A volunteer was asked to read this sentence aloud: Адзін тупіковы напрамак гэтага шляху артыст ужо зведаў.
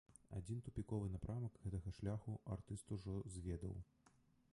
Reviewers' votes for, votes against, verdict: 1, 2, rejected